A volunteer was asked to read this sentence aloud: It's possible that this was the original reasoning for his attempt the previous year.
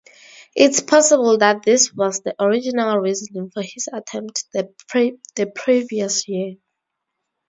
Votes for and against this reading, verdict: 0, 2, rejected